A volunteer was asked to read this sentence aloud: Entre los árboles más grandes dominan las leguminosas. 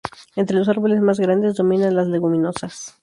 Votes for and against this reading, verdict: 2, 0, accepted